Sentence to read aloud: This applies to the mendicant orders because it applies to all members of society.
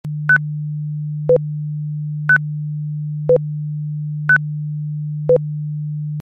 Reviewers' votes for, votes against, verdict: 0, 2, rejected